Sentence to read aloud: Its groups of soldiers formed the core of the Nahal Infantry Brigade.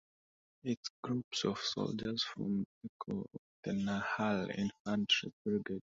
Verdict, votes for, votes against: rejected, 0, 2